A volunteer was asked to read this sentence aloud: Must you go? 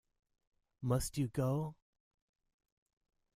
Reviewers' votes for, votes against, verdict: 2, 0, accepted